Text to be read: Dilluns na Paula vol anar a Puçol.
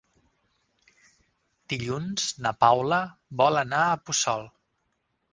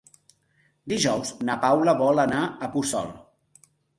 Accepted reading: first